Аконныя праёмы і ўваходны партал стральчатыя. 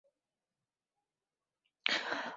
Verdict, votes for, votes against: rejected, 0, 2